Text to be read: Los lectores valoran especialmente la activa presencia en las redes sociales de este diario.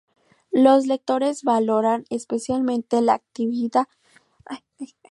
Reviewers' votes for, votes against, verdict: 0, 2, rejected